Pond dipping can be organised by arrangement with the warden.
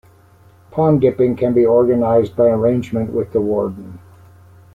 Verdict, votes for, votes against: accepted, 2, 0